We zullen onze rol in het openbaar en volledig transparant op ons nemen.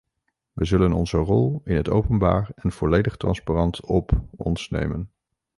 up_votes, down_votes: 0, 2